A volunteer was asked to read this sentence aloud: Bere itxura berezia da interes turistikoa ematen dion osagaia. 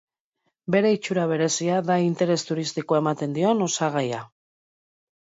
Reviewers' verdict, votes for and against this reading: accepted, 2, 0